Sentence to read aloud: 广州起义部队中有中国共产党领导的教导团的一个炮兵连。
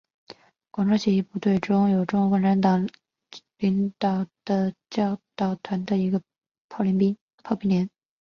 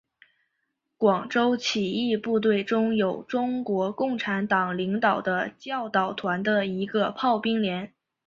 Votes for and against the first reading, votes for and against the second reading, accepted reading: 1, 2, 3, 1, second